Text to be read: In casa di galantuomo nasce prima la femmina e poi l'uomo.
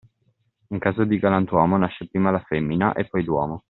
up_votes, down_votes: 1, 2